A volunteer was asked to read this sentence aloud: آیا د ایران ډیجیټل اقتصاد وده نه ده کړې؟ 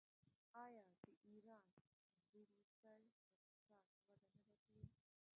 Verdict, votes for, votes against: rejected, 0, 2